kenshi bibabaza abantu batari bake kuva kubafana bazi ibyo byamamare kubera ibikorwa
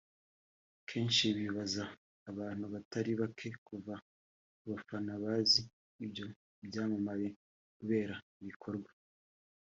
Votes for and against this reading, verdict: 3, 0, accepted